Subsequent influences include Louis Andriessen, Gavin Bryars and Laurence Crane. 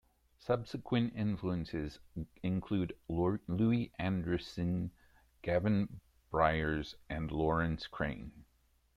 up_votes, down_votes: 0, 2